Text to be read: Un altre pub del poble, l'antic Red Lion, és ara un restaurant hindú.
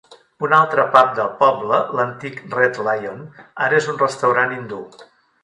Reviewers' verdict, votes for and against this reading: rejected, 1, 3